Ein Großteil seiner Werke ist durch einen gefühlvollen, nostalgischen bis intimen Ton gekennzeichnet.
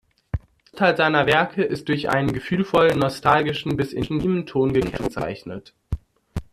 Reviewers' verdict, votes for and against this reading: rejected, 0, 2